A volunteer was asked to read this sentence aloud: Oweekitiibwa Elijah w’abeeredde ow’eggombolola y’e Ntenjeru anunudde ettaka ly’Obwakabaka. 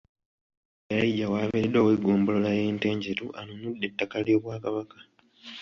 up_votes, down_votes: 1, 2